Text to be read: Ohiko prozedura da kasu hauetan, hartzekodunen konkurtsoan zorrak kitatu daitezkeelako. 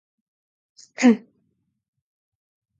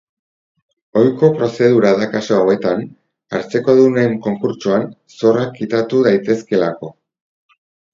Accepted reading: second